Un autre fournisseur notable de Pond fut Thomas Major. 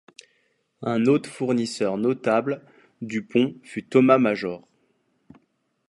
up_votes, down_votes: 0, 2